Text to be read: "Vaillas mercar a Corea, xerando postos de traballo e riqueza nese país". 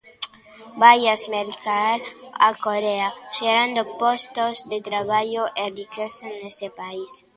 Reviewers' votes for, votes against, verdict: 2, 0, accepted